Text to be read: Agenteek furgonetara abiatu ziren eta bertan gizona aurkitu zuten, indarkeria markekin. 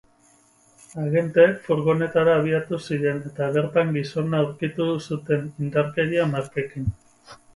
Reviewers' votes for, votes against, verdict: 2, 2, rejected